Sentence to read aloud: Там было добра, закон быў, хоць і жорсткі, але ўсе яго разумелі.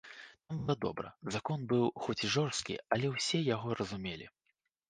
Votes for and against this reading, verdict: 1, 2, rejected